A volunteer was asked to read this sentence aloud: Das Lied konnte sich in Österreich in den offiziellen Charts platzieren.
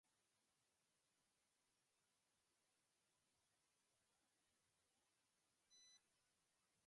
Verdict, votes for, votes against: rejected, 0, 3